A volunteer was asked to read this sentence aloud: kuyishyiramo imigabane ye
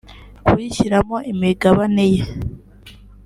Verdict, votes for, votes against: accepted, 2, 0